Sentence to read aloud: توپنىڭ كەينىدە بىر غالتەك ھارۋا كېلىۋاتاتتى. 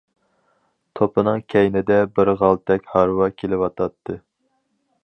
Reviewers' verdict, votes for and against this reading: accepted, 4, 0